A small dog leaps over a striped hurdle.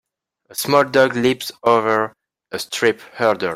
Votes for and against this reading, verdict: 1, 2, rejected